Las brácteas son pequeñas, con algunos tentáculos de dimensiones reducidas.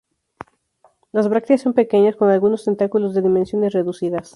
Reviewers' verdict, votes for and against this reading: accepted, 2, 0